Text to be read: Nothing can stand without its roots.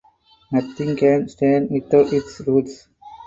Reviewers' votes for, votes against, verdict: 4, 2, accepted